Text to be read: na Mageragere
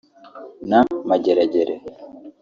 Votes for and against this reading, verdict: 0, 2, rejected